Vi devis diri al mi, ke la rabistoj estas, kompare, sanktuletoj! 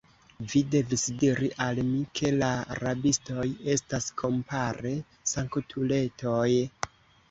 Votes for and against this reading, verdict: 2, 0, accepted